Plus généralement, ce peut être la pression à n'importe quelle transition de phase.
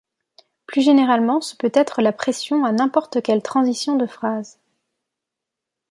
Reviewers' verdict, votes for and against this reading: rejected, 0, 2